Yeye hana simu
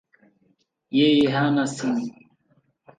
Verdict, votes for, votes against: rejected, 0, 2